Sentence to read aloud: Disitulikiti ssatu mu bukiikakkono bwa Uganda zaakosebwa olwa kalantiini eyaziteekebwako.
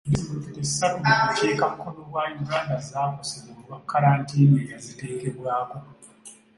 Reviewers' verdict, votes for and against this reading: rejected, 0, 3